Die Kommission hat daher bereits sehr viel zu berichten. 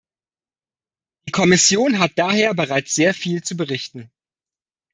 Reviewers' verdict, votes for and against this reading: rejected, 0, 2